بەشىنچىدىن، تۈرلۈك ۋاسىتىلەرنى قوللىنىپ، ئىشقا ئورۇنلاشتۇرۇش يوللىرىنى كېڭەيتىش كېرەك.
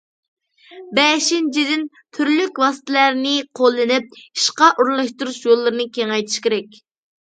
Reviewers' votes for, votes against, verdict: 0, 2, rejected